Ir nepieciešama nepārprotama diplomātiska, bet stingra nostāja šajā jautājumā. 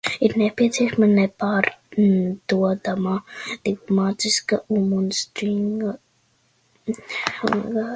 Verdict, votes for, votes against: rejected, 0, 2